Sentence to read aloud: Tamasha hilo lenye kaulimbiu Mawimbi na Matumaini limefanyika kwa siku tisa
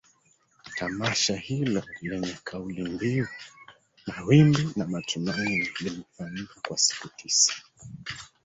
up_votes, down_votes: 0, 2